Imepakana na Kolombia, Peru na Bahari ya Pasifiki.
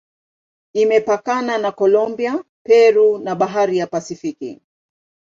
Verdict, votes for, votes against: accepted, 2, 0